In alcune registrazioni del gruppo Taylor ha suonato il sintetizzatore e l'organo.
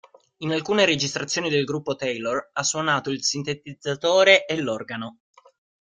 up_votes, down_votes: 1, 2